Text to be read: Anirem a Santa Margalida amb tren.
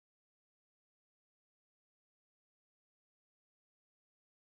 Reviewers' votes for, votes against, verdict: 0, 2, rejected